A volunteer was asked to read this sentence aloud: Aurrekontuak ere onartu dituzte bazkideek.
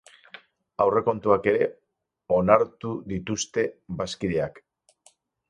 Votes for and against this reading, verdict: 0, 4, rejected